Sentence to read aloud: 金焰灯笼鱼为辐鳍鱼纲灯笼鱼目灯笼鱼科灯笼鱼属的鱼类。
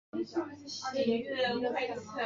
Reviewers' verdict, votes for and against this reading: rejected, 1, 3